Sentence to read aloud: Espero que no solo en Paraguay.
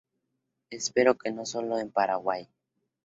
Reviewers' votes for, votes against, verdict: 2, 0, accepted